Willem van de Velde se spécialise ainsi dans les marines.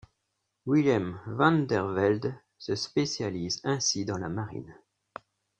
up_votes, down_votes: 0, 2